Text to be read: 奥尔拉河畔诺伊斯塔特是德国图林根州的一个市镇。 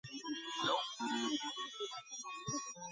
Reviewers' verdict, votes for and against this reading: rejected, 0, 2